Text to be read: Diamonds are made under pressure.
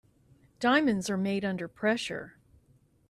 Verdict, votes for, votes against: accepted, 2, 0